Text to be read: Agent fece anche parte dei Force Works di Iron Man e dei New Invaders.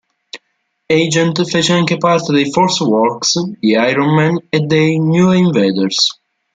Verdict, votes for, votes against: accepted, 2, 1